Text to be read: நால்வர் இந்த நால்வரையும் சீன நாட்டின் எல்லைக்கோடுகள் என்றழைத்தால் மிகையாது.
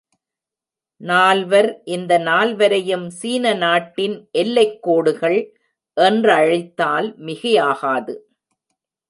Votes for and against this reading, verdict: 1, 2, rejected